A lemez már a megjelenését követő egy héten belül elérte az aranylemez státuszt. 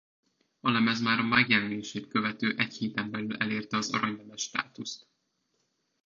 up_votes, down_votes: 1, 2